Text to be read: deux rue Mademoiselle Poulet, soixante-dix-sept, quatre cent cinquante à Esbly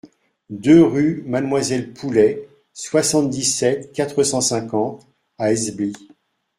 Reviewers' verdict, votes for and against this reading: accepted, 2, 0